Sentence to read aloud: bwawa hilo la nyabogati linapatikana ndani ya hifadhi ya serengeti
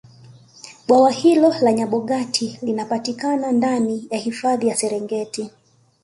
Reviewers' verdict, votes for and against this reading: accepted, 2, 0